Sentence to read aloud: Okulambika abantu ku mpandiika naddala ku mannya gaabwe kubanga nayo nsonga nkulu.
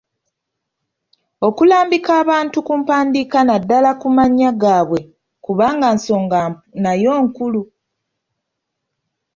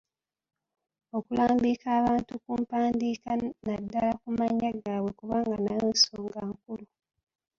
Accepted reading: second